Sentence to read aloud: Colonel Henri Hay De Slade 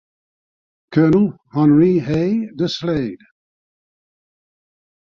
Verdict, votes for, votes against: accepted, 2, 0